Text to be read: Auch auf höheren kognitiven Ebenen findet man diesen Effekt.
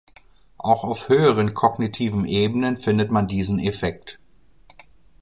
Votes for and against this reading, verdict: 2, 0, accepted